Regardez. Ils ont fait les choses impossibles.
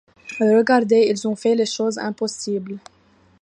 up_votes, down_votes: 2, 1